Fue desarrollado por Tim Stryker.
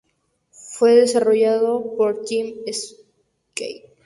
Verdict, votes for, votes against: rejected, 0, 2